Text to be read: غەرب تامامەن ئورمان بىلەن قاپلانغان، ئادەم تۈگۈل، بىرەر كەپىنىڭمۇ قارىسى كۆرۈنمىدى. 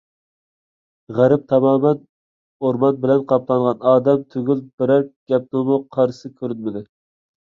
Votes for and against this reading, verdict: 2, 0, accepted